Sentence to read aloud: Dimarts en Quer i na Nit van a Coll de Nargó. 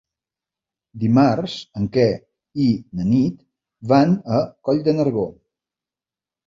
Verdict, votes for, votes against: accepted, 3, 1